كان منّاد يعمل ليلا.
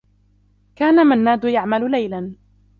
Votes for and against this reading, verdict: 2, 0, accepted